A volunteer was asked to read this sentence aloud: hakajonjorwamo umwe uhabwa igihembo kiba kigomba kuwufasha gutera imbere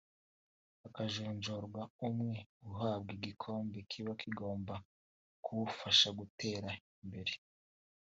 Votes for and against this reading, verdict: 0, 2, rejected